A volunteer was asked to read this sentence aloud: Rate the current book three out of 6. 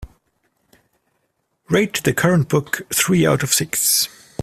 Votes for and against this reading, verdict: 0, 2, rejected